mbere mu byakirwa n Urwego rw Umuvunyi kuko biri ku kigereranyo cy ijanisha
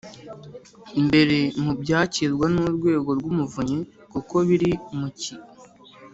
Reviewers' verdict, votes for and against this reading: rejected, 0, 2